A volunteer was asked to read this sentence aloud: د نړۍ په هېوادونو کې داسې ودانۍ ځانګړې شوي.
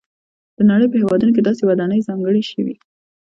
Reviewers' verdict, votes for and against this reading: accepted, 2, 0